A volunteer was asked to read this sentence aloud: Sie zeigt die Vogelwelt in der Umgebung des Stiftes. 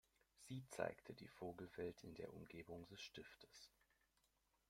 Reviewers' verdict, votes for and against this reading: accepted, 2, 1